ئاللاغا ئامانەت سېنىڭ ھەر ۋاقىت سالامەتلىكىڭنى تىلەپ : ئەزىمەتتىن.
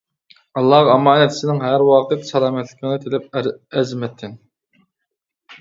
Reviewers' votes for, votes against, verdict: 0, 2, rejected